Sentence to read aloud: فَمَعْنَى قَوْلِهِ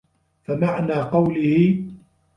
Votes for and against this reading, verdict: 2, 1, accepted